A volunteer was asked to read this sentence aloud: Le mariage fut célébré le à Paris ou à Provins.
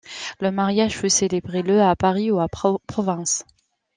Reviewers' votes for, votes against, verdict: 0, 2, rejected